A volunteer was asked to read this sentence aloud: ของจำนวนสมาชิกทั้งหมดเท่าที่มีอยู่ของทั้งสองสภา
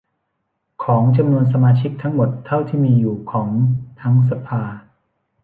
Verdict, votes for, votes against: rejected, 1, 2